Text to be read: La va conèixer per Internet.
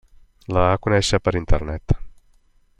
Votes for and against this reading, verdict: 2, 1, accepted